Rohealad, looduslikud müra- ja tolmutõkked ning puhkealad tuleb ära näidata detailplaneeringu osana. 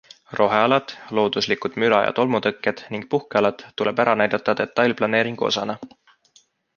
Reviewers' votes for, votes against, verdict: 2, 0, accepted